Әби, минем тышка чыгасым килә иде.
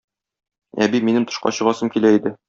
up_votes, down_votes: 2, 0